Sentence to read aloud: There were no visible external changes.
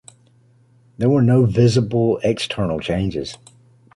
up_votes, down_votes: 2, 0